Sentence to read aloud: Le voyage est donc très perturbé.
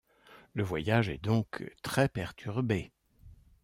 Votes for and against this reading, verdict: 2, 0, accepted